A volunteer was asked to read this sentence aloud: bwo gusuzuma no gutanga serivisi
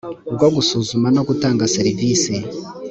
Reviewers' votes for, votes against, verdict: 2, 0, accepted